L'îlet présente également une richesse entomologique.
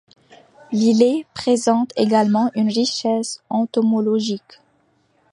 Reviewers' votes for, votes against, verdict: 2, 0, accepted